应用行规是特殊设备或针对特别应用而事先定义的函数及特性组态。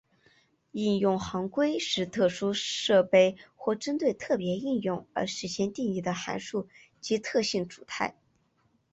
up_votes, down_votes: 8, 0